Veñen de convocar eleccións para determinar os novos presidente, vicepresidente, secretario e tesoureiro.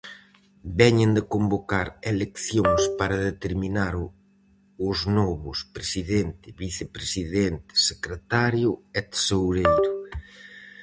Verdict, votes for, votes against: rejected, 2, 2